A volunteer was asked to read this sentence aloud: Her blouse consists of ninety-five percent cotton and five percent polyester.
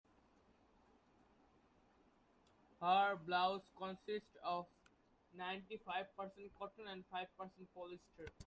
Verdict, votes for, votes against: rejected, 0, 2